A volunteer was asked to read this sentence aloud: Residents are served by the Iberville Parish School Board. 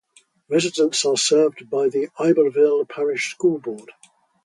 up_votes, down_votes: 0, 2